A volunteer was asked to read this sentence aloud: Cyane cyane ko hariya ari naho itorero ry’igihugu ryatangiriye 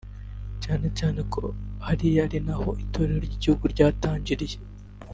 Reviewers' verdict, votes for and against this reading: rejected, 1, 2